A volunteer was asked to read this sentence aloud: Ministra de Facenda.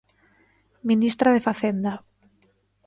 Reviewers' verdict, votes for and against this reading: accepted, 2, 0